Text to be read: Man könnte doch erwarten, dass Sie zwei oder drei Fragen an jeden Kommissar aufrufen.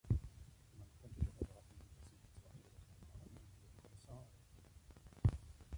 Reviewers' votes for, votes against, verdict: 0, 2, rejected